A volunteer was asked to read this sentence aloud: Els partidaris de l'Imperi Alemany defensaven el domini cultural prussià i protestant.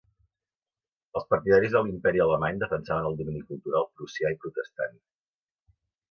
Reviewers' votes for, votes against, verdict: 3, 2, accepted